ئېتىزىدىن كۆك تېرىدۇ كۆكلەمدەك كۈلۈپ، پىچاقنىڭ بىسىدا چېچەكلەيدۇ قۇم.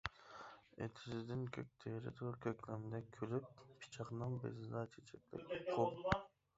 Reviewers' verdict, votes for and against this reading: rejected, 0, 2